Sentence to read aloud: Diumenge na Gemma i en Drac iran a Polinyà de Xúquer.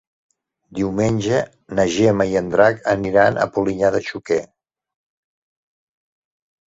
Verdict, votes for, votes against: rejected, 1, 2